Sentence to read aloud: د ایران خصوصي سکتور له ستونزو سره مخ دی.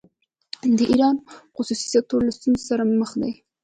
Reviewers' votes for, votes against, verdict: 3, 1, accepted